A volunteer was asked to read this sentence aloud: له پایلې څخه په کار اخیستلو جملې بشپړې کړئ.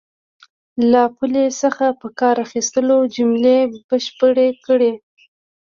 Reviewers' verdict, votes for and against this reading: rejected, 1, 2